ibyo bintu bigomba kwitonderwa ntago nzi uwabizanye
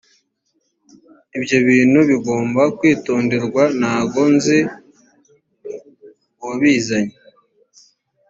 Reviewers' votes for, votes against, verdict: 2, 0, accepted